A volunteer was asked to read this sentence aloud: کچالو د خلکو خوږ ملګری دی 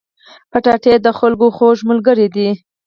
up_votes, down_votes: 4, 0